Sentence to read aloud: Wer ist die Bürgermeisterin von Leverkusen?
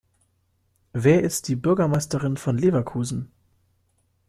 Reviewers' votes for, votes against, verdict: 2, 0, accepted